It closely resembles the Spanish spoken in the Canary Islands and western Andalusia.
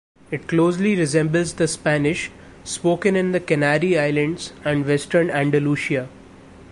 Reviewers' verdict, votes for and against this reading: rejected, 0, 2